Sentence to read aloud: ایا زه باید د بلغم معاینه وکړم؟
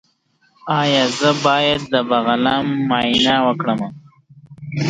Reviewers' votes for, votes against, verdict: 2, 1, accepted